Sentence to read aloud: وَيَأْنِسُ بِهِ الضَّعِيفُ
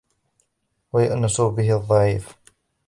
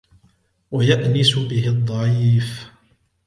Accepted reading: second